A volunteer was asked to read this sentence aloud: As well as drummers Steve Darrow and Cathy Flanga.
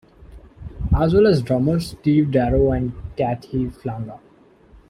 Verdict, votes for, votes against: accepted, 2, 0